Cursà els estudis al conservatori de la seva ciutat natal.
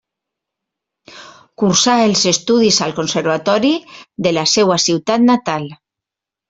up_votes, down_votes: 0, 2